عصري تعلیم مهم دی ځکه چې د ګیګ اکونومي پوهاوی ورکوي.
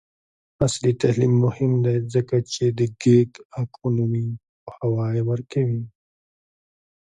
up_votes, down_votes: 2, 0